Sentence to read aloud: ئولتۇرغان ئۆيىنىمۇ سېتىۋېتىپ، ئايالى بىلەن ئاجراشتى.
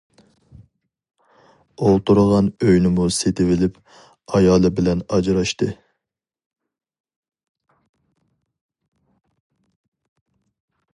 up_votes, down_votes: 2, 2